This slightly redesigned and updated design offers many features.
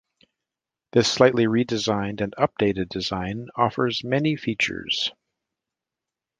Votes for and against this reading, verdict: 2, 0, accepted